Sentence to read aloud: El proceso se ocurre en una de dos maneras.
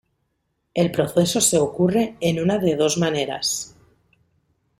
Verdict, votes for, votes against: accepted, 2, 0